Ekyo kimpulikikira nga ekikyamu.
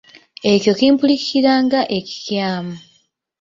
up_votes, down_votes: 1, 2